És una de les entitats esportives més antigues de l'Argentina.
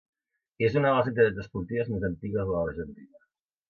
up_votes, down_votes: 2, 0